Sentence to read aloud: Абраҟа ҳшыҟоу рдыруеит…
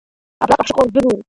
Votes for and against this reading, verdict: 0, 3, rejected